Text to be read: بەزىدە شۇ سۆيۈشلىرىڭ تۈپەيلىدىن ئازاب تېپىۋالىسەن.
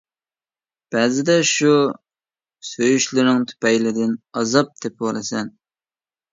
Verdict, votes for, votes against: accepted, 2, 0